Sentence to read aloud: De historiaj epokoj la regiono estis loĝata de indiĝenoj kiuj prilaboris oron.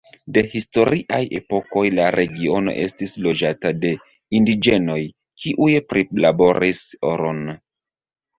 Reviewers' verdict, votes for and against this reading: accepted, 2, 0